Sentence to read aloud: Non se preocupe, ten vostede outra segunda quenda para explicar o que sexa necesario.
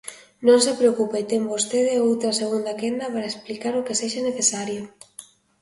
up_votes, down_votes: 2, 0